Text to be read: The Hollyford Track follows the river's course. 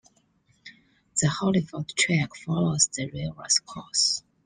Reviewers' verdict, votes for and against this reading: accepted, 2, 0